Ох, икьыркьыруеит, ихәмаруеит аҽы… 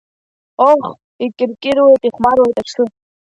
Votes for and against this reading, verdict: 0, 2, rejected